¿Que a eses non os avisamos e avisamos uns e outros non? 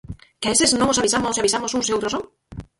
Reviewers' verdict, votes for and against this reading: rejected, 0, 4